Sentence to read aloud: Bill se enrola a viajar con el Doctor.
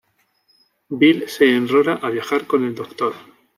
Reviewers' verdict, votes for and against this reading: accepted, 2, 0